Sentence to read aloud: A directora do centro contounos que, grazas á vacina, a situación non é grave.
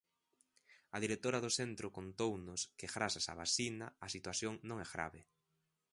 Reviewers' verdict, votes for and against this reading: accepted, 2, 0